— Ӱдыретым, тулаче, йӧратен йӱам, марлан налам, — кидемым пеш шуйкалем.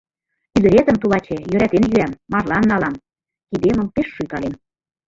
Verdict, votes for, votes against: rejected, 1, 2